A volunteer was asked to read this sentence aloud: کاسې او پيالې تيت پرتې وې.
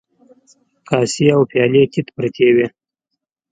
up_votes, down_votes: 2, 0